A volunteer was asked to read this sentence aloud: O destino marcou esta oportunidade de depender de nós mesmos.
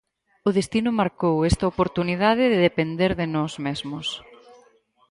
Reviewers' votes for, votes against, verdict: 2, 2, rejected